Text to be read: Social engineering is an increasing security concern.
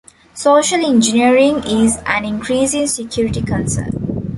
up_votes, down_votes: 0, 2